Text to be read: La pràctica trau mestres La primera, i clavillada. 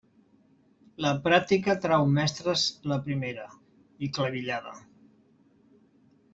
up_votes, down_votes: 0, 2